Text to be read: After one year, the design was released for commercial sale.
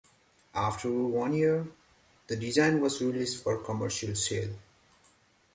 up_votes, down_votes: 2, 1